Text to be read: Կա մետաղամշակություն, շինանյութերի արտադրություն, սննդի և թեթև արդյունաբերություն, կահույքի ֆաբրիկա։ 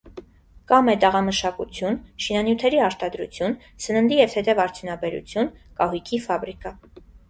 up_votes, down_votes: 2, 0